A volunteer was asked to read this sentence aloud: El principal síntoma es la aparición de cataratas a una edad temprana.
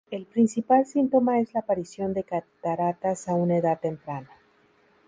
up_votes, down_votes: 2, 0